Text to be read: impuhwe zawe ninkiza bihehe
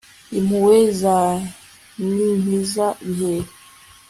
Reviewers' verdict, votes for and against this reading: accepted, 2, 0